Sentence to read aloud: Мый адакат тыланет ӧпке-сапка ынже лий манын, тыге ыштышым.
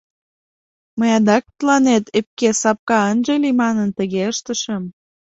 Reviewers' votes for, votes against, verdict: 1, 2, rejected